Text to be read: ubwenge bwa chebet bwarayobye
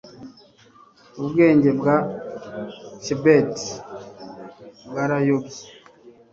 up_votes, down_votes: 2, 0